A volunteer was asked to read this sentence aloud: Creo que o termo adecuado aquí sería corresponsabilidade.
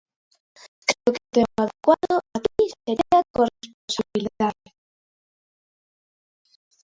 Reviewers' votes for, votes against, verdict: 0, 2, rejected